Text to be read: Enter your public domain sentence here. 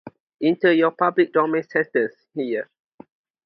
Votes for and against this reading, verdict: 2, 0, accepted